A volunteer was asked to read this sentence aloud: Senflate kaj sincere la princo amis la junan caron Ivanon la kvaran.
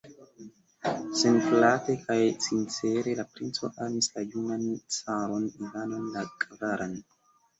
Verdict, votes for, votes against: rejected, 1, 2